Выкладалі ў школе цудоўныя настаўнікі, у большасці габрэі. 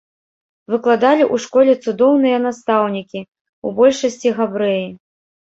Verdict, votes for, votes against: rejected, 1, 2